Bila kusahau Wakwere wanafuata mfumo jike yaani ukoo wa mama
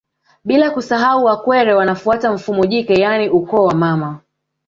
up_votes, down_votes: 1, 2